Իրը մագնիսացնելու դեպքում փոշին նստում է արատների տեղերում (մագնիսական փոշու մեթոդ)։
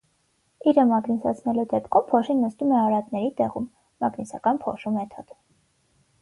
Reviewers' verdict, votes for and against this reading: rejected, 3, 6